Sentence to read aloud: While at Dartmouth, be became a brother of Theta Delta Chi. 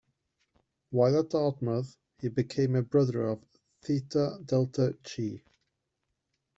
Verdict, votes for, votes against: rejected, 1, 2